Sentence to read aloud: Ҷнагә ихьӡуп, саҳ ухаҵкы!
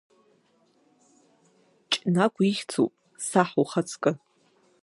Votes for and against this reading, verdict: 1, 2, rejected